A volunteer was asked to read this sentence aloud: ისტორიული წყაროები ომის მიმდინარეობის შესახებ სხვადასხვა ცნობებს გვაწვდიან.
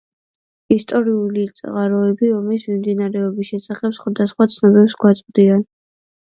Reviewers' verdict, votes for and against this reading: accepted, 2, 0